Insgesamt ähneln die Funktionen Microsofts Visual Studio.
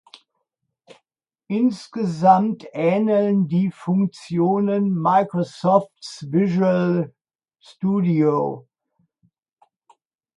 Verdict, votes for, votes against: accepted, 2, 0